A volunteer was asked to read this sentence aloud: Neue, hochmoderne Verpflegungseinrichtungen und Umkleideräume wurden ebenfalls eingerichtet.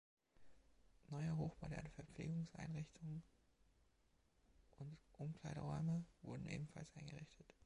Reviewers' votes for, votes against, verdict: 2, 1, accepted